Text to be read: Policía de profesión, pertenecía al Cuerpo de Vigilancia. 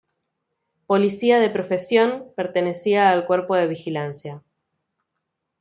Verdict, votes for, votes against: accepted, 2, 0